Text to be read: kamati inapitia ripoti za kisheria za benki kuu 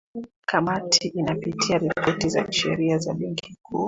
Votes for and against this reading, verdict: 2, 1, accepted